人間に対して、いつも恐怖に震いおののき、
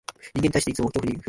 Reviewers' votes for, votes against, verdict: 1, 2, rejected